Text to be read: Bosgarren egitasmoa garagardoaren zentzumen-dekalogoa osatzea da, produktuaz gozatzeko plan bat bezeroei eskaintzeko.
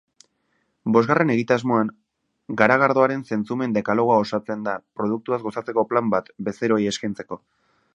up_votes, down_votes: 1, 2